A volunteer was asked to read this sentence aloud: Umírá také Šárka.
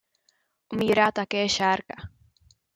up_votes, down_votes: 2, 0